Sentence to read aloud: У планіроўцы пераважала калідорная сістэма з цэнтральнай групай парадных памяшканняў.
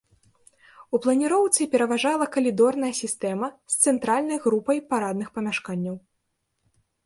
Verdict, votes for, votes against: accepted, 2, 0